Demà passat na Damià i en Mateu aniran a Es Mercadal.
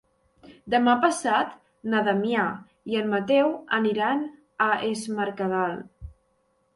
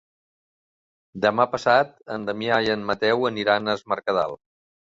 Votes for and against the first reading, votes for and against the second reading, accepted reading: 2, 0, 2, 3, first